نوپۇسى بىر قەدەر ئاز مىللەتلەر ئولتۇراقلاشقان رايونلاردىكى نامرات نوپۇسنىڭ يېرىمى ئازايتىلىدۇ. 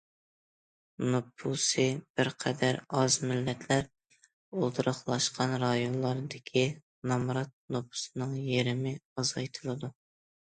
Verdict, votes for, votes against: accepted, 2, 0